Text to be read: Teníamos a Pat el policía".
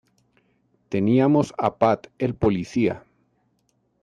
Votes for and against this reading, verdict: 2, 0, accepted